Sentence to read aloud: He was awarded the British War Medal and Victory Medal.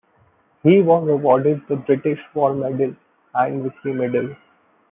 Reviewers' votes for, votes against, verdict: 1, 2, rejected